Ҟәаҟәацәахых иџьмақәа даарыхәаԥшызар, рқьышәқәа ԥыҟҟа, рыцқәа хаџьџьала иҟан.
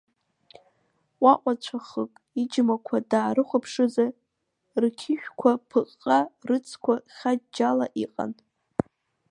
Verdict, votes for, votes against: accepted, 2, 1